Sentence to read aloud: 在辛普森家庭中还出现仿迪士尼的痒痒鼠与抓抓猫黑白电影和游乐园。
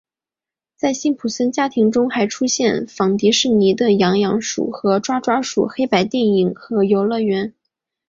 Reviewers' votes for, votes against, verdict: 2, 0, accepted